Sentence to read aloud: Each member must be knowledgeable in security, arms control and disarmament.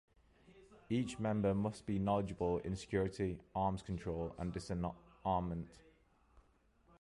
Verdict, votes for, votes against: rejected, 0, 2